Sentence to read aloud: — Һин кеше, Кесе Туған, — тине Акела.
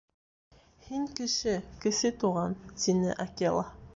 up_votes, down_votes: 2, 1